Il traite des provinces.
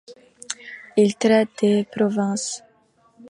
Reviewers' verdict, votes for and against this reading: accepted, 2, 0